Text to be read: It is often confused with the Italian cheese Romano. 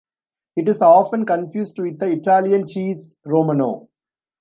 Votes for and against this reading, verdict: 1, 2, rejected